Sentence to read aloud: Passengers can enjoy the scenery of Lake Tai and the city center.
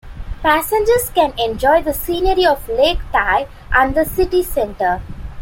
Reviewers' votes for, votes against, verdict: 2, 1, accepted